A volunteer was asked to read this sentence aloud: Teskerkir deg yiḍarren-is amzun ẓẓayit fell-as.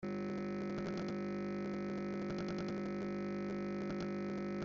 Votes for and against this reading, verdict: 0, 2, rejected